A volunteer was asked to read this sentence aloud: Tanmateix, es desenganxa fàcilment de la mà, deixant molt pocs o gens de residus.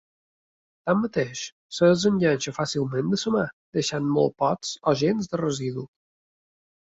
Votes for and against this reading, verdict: 1, 2, rejected